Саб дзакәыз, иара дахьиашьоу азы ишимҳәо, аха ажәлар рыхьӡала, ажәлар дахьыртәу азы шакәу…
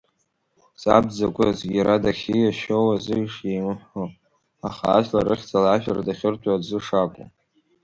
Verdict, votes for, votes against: rejected, 1, 2